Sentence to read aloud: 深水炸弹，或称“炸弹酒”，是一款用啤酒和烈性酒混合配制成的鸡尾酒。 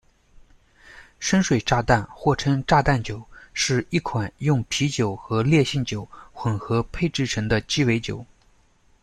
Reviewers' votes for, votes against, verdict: 1, 2, rejected